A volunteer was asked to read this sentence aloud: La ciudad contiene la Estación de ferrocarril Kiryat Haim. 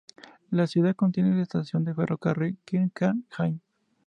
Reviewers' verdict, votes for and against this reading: rejected, 0, 2